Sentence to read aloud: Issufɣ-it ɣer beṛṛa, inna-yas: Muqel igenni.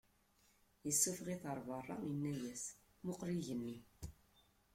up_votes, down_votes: 0, 2